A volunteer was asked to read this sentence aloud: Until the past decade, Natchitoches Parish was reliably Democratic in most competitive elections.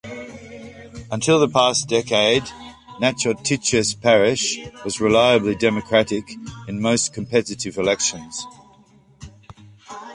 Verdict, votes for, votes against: rejected, 0, 2